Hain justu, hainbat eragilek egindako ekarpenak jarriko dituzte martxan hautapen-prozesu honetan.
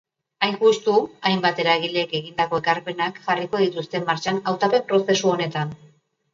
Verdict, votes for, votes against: accepted, 2, 0